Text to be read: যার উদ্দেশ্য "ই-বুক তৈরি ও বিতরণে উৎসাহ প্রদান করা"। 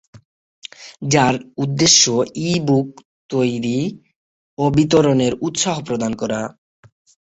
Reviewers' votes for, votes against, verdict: 3, 3, rejected